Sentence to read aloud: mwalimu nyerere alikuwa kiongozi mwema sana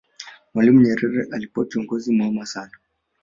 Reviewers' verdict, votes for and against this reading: accepted, 4, 1